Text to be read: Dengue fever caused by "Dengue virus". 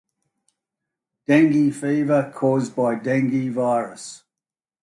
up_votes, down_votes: 2, 0